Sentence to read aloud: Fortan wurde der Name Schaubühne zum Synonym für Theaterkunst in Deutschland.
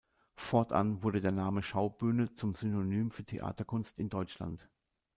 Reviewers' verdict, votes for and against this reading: accepted, 2, 0